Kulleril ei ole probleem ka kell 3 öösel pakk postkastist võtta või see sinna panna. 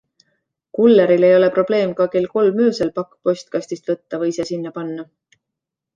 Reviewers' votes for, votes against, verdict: 0, 2, rejected